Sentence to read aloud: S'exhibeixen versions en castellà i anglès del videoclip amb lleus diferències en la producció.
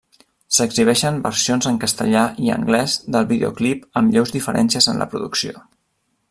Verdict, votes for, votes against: accepted, 3, 0